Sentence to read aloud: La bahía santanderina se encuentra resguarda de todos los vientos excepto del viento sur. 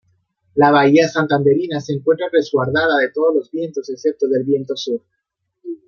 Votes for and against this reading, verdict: 2, 0, accepted